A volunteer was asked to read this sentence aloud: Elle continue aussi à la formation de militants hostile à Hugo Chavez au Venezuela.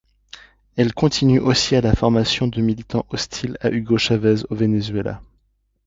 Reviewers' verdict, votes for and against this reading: accepted, 2, 0